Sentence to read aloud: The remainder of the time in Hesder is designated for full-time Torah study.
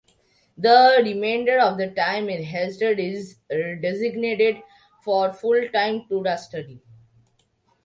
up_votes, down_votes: 0, 2